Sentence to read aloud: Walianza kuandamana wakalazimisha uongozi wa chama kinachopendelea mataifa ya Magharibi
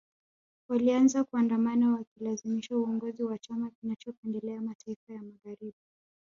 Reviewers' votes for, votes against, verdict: 2, 0, accepted